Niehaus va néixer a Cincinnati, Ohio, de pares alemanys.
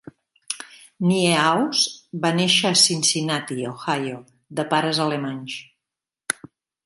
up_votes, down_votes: 2, 0